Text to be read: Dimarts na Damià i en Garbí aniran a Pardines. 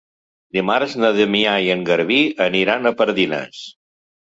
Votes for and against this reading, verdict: 3, 0, accepted